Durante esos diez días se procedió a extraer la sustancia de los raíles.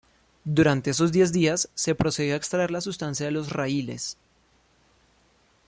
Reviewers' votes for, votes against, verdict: 2, 0, accepted